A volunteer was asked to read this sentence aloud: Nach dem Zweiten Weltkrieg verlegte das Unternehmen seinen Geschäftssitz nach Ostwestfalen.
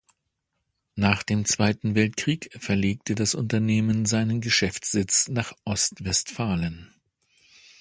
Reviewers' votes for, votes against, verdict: 2, 0, accepted